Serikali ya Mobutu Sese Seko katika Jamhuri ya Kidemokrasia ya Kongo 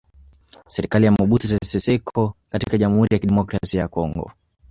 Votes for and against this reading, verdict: 0, 2, rejected